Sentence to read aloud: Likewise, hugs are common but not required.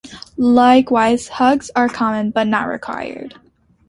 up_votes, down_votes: 2, 0